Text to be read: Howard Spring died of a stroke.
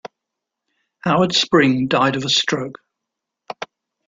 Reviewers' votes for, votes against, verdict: 2, 0, accepted